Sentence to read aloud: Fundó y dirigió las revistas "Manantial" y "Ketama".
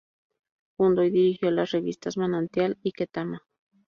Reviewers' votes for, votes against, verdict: 2, 0, accepted